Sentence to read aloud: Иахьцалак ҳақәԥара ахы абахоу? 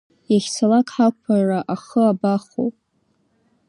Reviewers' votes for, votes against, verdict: 0, 2, rejected